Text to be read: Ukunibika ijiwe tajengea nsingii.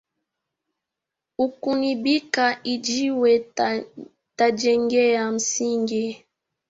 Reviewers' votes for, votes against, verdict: 1, 3, rejected